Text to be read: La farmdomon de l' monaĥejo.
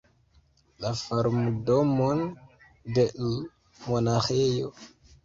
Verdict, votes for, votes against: rejected, 1, 2